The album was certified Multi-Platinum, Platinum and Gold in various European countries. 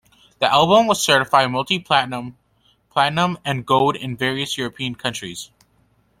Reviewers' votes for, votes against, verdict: 2, 0, accepted